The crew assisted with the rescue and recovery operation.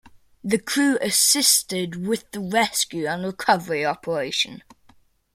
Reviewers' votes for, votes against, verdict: 2, 0, accepted